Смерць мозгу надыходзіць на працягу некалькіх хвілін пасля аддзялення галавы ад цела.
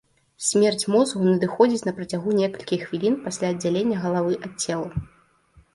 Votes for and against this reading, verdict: 2, 1, accepted